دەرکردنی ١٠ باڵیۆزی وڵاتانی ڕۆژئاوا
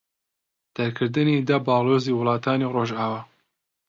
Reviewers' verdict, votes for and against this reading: rejected, 0, 2